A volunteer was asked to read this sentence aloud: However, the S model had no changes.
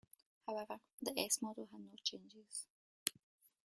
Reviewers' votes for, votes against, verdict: 2, 0, accepted